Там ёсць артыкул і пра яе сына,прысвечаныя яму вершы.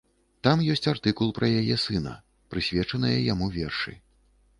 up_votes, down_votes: 1, 2